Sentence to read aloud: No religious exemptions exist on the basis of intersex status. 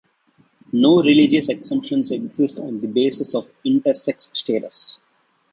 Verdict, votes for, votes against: accepted, 2, 0